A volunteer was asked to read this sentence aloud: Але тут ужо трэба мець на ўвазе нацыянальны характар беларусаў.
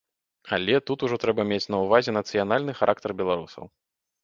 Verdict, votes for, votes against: accepted, 2, 0